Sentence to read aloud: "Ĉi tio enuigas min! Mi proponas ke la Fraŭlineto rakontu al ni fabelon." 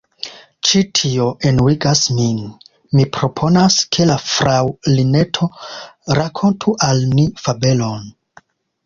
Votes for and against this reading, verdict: 1, 2, rejected